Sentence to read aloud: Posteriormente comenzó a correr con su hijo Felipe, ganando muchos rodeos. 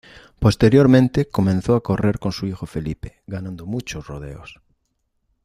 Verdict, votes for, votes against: accepted, 2, 0